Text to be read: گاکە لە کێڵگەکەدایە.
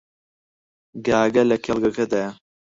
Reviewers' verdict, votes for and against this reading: rejected, 0, 4